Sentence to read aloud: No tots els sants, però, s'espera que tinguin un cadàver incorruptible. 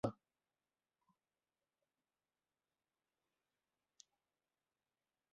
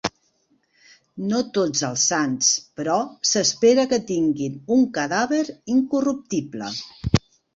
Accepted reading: second